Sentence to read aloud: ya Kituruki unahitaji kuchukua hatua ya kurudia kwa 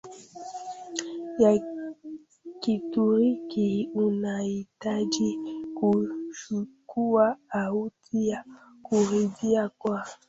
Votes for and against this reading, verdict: 0, 2, rejected